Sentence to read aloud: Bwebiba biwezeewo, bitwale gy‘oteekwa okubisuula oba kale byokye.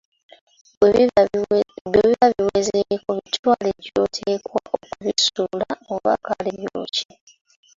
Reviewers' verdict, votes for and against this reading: rejected, 0, 2